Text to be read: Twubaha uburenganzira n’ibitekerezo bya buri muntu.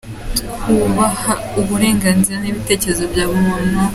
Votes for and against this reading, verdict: 2, 0, accepted